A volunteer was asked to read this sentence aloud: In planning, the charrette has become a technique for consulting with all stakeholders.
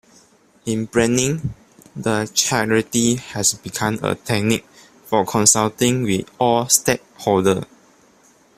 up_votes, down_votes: 1, 2